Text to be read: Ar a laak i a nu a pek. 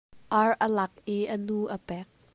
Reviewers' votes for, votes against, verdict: 2, 0, accepted